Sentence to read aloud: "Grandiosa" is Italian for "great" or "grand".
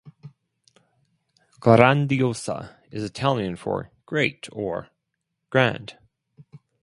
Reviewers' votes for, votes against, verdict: 4, 0, accepted